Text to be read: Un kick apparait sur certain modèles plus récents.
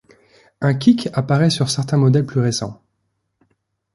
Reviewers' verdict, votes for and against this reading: accepted, 2, 0